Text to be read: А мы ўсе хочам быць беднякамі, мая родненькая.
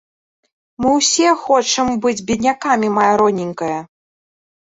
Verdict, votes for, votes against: rejected, 1, 2